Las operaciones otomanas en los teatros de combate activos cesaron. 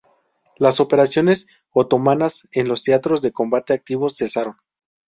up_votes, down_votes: 4, 0